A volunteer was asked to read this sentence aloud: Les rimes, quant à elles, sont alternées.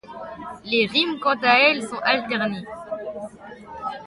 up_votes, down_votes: 2, 1